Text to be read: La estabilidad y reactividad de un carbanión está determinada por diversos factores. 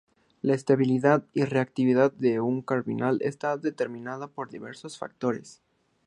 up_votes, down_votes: 0, 2